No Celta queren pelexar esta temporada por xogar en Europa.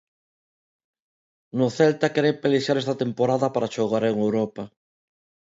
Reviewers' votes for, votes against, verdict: 1, 2, rejected